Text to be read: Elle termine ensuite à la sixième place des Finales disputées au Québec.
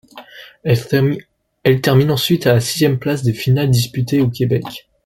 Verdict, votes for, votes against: rejected, 1, 2